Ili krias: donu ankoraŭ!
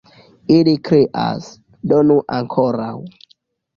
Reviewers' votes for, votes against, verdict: 3, 2, accepted